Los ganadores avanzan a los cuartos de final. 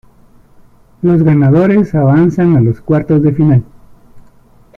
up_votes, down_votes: 2, 0